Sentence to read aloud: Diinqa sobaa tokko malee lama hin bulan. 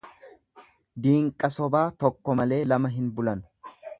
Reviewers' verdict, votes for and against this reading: accepted, 2, 0